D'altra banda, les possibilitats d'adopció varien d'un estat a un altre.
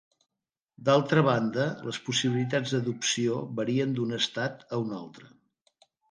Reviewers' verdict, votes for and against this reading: accepted, 3, 0